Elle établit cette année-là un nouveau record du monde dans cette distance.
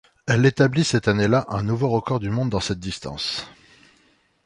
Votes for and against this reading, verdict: 2, 0, accepted